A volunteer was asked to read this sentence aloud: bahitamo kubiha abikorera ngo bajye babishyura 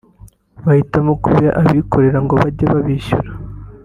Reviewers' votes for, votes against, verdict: 2, 0, accepted